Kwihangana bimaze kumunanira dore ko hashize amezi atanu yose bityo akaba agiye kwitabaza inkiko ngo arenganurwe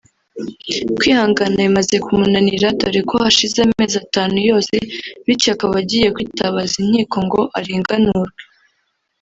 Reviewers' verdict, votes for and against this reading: rejected, 0, 2